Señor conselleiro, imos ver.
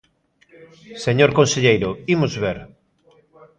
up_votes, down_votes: 2, 0